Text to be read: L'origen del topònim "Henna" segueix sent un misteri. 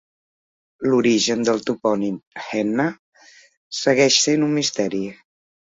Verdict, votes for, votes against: accepted, 3, 0